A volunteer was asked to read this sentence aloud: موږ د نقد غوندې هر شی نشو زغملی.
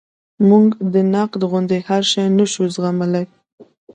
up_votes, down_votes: 2, 0